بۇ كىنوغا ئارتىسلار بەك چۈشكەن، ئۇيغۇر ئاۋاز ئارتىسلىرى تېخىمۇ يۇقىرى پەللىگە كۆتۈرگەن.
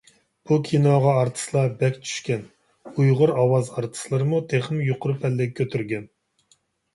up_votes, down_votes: 0, 2